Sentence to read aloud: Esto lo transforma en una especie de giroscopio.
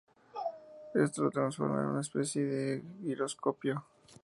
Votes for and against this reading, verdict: 0, 2, rejected